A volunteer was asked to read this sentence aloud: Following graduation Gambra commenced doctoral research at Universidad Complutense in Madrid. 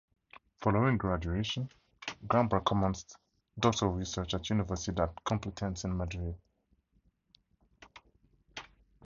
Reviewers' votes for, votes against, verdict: 0, 2, rejected